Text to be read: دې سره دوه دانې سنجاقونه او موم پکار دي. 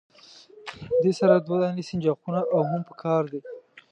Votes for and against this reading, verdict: 0, 2, rejected